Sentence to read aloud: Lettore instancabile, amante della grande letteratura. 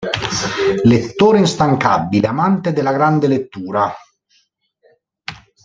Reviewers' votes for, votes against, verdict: 1, 2, rejected